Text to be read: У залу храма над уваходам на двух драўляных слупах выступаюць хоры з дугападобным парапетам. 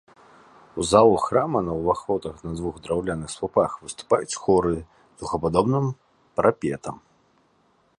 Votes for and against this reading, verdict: 1, 2, rejected